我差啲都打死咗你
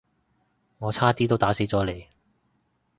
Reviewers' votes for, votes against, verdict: 2, 0, accepted